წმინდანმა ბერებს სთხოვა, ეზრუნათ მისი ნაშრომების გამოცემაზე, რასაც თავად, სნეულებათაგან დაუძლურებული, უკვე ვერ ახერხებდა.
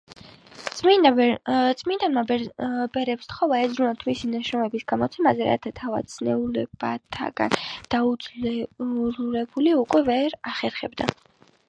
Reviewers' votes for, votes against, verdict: 0, 2, rejected